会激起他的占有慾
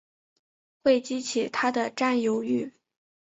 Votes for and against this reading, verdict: 3, 1, accepted